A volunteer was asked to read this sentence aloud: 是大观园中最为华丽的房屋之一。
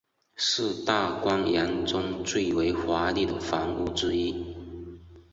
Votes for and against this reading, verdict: 2, 0, accepted